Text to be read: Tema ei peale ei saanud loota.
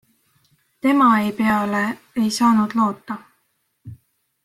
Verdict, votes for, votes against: rejected, 1, 2